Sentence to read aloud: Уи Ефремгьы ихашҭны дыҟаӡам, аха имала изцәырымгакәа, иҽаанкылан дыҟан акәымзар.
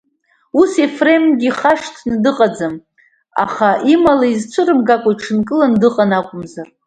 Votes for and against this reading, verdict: 1, 2, rejected